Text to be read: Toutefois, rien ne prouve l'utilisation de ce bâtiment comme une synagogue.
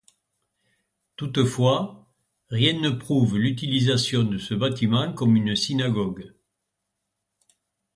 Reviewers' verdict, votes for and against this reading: accepted, 2, 0